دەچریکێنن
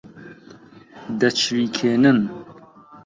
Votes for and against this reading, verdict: 2, 0, accepted